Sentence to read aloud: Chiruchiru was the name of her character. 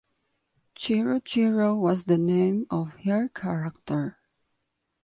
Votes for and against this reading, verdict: 2, 0, accepted